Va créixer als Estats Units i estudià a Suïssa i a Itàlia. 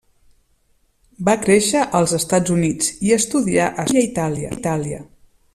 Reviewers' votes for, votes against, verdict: 0, 2, rejected